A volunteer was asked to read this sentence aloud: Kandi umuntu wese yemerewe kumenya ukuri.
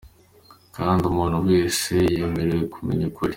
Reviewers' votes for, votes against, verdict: 2, 0, accepted